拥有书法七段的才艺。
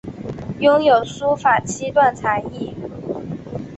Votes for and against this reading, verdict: 3, 1, accepted